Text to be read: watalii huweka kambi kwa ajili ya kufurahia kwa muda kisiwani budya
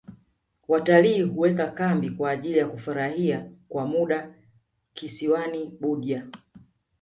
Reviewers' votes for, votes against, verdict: 2, 1, accepted